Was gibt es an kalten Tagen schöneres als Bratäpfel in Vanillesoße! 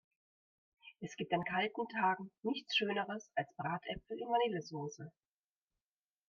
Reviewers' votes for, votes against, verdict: 1, 2, rejected